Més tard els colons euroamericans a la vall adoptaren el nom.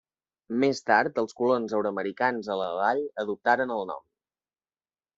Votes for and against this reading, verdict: 2, 0, accepted